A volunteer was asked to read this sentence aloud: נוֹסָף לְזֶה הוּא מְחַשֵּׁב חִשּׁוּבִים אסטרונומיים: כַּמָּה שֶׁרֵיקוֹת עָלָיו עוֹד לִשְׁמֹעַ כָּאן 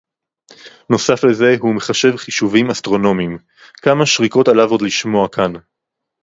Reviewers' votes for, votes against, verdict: 2, 2, rejected